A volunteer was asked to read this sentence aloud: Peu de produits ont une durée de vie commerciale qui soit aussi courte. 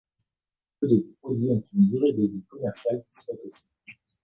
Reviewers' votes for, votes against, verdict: 0, 2, rejected